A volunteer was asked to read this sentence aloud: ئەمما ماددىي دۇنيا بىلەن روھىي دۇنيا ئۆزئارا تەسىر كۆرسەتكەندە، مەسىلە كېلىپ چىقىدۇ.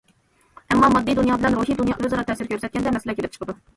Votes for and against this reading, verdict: 1, 2, rejected